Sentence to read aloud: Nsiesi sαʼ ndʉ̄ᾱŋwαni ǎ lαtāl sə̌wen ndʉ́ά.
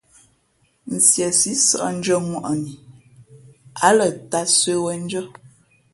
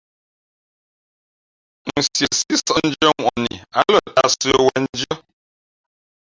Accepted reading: first